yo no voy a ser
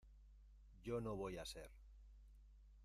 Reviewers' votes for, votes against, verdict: 0, 2, rejected